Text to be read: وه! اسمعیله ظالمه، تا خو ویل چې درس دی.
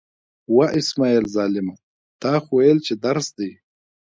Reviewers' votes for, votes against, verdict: 2, 0, accepted